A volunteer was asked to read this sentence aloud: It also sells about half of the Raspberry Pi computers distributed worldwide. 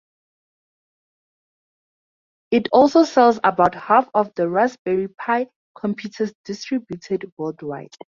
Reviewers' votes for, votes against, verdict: 4, 0, accepted